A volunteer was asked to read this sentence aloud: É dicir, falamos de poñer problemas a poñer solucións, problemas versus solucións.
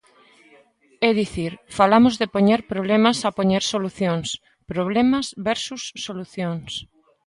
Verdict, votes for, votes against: accepted, 2, 0